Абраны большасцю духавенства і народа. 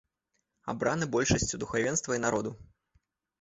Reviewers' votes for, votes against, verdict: 0, 2, rejected